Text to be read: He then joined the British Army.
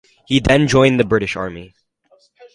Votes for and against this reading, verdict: 4, 2, accepted